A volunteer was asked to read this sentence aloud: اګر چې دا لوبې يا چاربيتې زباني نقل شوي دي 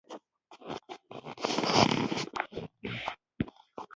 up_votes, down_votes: 0, 2